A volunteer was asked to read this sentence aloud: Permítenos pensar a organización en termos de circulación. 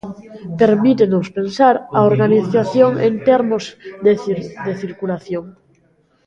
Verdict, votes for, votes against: rejected, 1, 2